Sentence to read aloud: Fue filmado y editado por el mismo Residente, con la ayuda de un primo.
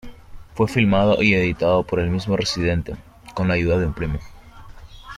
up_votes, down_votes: 2, 0